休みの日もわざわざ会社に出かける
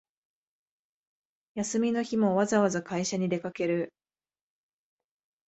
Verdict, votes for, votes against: accepted, 2, 0